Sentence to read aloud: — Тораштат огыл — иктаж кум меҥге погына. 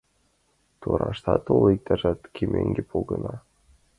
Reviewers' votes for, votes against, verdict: 1, 2, rejected